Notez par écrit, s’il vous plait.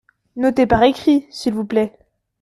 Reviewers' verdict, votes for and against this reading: accepted, 2, 0